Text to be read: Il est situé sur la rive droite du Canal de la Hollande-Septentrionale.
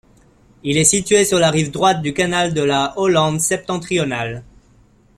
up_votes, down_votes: 2, 0